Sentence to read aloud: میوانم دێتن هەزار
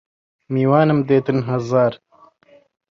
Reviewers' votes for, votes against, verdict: 0, 2, rejected